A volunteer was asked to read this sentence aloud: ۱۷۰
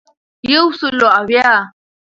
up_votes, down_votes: 0, 2